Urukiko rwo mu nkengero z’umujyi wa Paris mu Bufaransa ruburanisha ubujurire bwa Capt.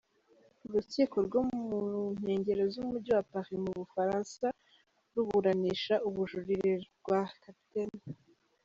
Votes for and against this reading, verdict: 0, 2, rejected